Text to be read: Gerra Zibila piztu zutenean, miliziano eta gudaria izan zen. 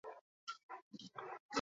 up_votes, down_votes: 4, 2